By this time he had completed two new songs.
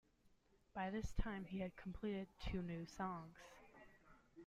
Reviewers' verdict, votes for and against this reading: accepted, 2, 0